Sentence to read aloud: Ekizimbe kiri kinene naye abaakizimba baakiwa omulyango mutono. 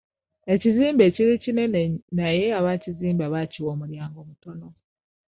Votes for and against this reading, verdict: 0, 2, rejected